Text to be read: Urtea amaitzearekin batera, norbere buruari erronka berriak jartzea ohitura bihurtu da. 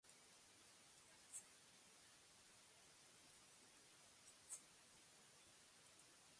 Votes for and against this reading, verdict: 0, 2, rejected